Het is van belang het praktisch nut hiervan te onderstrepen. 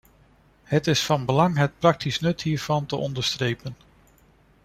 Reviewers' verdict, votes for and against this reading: accepted, 2, 0